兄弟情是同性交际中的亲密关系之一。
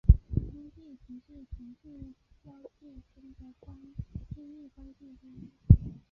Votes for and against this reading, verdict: 0, 2, rejected